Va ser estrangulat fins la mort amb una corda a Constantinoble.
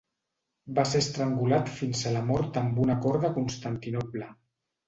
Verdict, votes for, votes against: rejected, 0, 2